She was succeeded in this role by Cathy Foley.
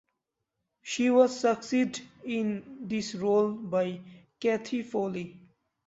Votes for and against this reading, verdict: 0, 2, rejected